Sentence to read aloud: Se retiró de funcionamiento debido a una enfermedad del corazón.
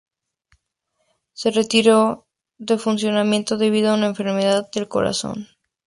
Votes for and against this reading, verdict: 2, 0, accepted